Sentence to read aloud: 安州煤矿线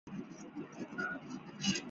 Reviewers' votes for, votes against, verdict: 1, 5, rejected